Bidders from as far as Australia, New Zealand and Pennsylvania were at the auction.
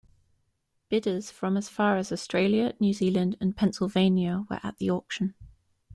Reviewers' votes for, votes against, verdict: 2, 0, accepted